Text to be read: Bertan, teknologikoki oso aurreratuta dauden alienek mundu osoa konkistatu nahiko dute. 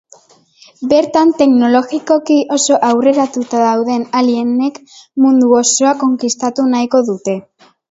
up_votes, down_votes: 3, 0